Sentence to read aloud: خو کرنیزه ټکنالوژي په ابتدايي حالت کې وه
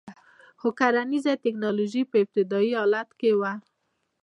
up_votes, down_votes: 2, 0